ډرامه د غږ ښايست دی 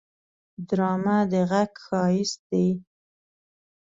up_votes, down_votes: 2, 0